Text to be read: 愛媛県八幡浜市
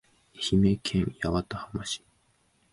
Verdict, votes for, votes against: accepted, 2, 0